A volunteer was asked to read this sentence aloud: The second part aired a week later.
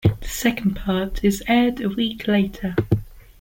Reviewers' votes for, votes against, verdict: 0, 2, rejected